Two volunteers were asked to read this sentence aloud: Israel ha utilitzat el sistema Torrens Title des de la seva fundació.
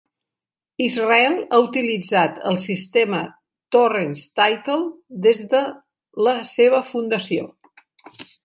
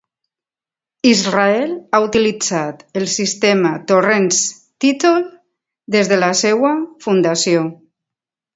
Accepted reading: second